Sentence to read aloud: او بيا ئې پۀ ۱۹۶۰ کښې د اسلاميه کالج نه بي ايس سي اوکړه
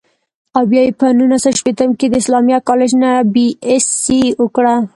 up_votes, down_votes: 0, 2